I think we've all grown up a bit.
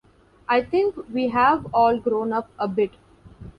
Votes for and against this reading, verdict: 0, 2, rejected